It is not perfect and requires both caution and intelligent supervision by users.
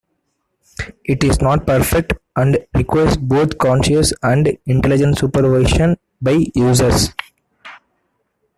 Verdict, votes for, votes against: rejected, 0, 2